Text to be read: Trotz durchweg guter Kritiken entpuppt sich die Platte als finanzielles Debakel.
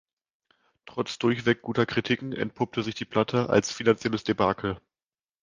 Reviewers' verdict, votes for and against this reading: rejected, 1, 2